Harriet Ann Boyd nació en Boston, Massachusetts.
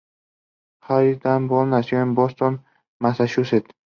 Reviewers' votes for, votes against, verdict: 2, 0, accepted